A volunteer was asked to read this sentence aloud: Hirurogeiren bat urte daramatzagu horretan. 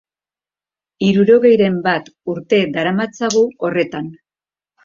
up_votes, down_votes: 2, 0